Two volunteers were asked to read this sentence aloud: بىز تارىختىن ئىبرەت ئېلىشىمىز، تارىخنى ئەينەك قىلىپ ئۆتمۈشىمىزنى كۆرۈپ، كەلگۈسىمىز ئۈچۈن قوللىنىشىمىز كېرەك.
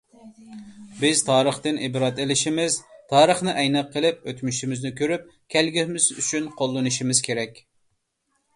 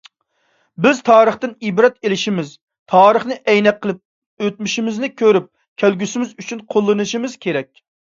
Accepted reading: second